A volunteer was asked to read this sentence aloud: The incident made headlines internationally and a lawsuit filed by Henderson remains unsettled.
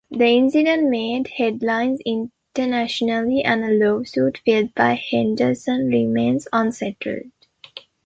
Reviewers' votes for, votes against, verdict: 0, 2, rejected